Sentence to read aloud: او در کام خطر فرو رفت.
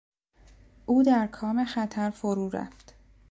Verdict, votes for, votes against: accepted, 3, 0